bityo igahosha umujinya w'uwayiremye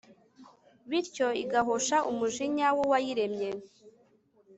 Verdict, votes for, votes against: accepted, 3, 0